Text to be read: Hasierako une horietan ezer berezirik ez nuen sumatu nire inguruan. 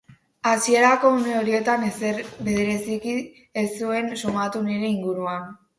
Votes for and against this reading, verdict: 0, 4, rejected